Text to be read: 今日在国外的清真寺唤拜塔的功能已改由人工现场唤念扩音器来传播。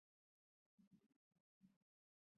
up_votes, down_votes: 0, 2